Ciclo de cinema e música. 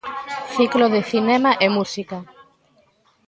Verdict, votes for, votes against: rejected, 1, 2